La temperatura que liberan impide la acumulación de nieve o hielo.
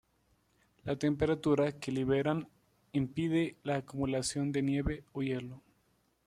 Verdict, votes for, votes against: accepted, 2, 0